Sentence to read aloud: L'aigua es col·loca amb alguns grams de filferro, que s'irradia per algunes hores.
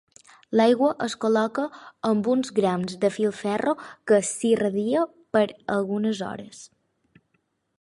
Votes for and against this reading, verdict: 0, 6, rejected